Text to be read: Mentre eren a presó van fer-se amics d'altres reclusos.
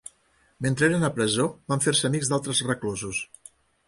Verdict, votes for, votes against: accepted, 3, 0